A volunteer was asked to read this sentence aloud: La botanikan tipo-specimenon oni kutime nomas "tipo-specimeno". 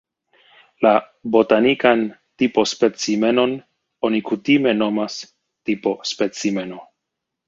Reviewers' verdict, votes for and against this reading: accepted, 2, 1